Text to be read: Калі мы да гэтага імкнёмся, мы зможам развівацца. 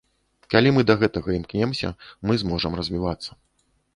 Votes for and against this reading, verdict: 1, 2, rejected